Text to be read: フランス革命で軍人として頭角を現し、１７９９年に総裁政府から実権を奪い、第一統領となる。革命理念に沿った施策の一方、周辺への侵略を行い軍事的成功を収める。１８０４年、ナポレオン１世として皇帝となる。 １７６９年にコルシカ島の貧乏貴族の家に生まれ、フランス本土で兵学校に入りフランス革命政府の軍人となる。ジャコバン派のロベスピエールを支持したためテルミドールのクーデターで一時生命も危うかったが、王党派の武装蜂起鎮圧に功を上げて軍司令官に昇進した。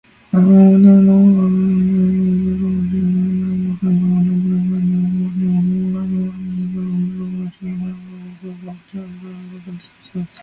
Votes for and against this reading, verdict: 0, 2, rejected